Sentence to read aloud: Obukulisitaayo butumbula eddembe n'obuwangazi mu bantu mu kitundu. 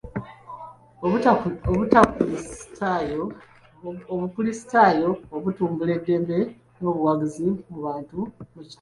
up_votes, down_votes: 0, 2